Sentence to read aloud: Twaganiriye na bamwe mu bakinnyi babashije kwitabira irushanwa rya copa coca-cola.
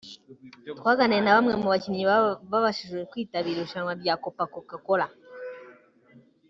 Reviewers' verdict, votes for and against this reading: rejected, 1, 2